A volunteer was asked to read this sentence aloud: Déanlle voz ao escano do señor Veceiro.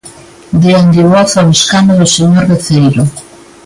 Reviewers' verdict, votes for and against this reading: accepted, 2, 1